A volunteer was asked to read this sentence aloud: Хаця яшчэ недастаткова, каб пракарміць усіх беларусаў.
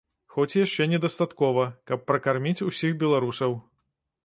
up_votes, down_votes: 1, 2